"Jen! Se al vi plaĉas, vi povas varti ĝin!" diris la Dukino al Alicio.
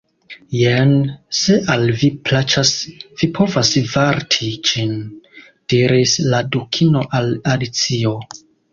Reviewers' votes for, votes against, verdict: 1, 2, rejected